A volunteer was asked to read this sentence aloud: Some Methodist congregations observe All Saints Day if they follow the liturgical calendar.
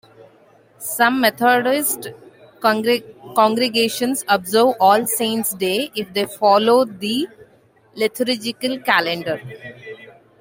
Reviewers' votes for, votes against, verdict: 1, 2, rejected